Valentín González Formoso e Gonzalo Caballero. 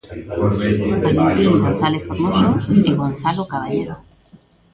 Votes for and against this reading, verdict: 1, 2, rejected